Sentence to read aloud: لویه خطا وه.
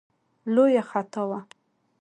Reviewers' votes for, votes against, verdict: 2, 0, accepted